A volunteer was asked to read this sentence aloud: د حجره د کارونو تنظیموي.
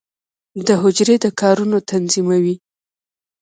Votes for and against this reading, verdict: 1, 2, rejected